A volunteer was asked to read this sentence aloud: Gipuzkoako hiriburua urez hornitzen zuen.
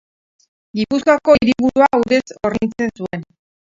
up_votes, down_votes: 0, 4